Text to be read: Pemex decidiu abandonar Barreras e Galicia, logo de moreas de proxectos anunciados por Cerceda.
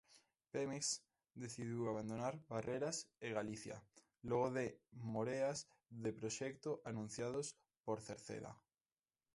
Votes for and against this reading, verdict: 0, 2, rejected